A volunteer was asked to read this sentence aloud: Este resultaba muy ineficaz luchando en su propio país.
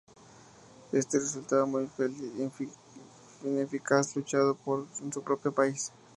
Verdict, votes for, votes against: rejected, 0, 4